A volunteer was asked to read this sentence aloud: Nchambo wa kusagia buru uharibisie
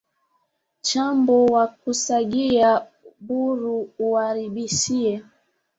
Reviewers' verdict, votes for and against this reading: rejected, 0, 2